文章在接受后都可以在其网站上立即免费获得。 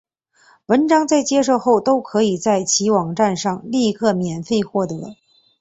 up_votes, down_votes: 2, 0